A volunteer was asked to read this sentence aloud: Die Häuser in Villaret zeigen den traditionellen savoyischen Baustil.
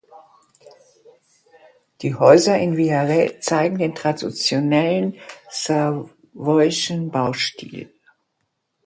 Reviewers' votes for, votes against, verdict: 0, 2, rejected